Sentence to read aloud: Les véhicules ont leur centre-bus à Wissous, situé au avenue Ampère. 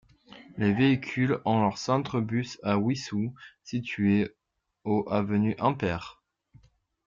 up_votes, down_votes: 0, 2